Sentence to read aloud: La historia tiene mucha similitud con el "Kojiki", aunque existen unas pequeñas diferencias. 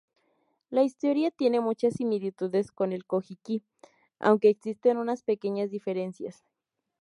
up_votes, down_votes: 0, 4